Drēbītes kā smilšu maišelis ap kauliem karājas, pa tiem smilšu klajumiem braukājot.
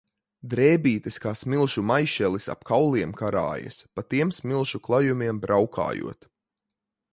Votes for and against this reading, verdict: 2, 0, accepted